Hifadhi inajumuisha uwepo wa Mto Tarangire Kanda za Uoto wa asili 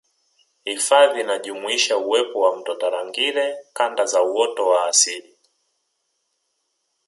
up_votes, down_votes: 1, 2